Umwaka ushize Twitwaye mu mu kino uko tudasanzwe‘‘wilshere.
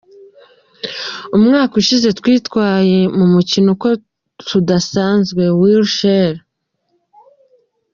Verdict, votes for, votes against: accepted, 2, 1